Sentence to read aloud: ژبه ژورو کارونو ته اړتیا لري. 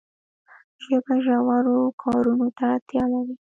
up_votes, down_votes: 2, 0